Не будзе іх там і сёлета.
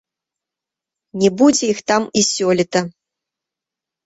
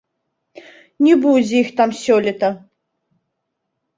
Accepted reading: first